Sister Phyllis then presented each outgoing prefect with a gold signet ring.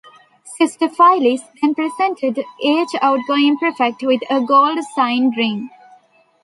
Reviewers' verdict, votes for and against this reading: rejected, 0, 2